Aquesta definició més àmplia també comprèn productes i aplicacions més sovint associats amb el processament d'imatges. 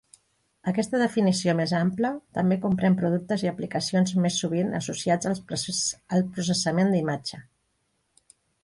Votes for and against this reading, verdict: 1, 2, rejected